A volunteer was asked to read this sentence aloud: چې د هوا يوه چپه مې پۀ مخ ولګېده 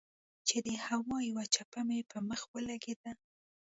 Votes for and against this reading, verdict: 2, 0, accepted